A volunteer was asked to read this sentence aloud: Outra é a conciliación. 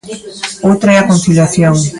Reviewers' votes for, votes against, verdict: 0, 2, rejected